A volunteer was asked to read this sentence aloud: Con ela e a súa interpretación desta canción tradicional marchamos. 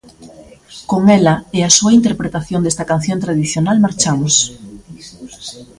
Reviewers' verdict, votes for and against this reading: accepted, 2, 0